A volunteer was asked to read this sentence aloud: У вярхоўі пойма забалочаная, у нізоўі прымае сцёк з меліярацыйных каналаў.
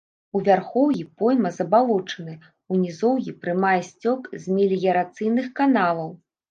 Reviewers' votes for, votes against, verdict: 2, 0, accepted